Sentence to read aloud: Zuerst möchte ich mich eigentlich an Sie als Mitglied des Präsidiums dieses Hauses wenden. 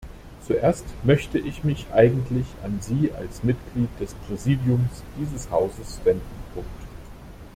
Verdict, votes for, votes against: rejected, 1, 2